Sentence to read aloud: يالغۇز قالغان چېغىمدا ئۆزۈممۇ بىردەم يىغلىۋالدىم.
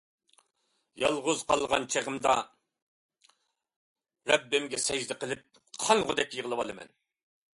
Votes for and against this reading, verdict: 0, 2, rejected